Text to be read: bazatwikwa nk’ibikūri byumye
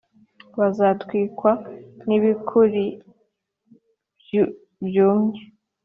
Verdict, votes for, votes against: accepted, 2, 1